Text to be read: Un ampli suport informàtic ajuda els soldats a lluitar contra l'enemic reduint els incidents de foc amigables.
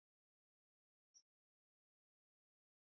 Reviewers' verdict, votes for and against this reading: rejected, 1, 2